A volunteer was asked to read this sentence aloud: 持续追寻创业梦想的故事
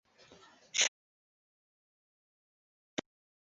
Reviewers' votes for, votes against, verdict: 1, 2, rejected